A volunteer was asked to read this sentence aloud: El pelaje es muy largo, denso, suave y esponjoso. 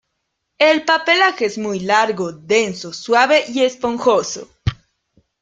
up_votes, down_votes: 0, 2